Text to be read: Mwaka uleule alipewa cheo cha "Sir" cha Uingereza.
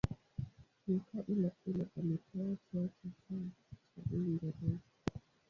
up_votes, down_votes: 0, 2